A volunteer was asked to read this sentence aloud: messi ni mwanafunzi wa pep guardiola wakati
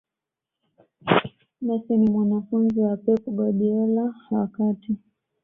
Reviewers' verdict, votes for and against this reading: accepted, 2, 0